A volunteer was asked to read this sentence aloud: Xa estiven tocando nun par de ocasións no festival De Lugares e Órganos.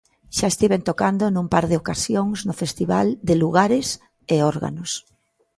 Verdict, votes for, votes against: accepted, 2, 0